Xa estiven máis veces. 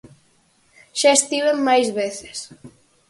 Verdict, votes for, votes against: accepted, 4, 0